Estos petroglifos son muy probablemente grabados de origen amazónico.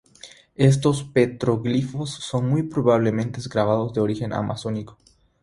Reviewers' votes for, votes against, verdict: 3, 0, accepted